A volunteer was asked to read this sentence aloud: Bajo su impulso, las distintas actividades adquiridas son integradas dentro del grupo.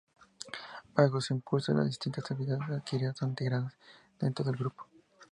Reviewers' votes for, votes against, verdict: 0, 4, rejected